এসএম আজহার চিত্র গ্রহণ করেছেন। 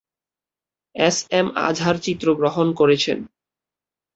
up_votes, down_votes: 3, 3